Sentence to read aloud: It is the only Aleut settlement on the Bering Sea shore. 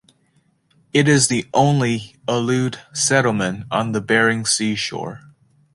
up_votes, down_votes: 2, 0